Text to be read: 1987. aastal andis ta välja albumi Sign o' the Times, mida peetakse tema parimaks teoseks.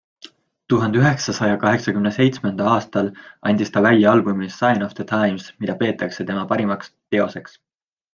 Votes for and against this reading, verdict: 0, 2, rejected